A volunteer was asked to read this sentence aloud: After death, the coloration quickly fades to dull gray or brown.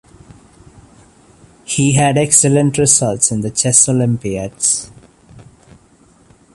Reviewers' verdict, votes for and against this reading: rejected, 0, 3